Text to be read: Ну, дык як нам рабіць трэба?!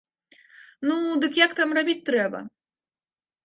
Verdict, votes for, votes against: rejected, 0, 2